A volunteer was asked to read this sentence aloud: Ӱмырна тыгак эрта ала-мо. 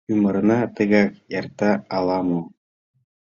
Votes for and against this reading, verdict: 2, 0, accepted